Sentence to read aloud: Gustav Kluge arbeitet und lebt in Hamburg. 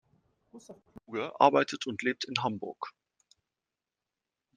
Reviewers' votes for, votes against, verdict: 1, 2, rejected